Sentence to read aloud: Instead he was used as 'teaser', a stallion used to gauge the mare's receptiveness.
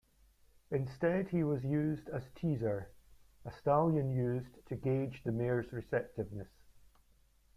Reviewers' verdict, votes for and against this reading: rejected, 0, 2